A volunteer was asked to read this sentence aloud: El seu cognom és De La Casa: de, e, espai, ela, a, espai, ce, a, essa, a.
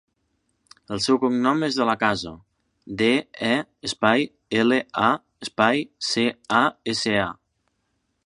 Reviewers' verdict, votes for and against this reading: accepted, 3, 0